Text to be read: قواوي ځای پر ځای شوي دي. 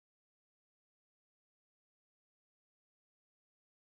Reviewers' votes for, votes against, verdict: 1, 2, rejected